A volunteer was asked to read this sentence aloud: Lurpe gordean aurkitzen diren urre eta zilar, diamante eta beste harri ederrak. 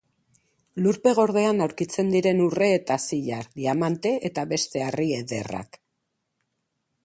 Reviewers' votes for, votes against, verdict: 6, 0, accepted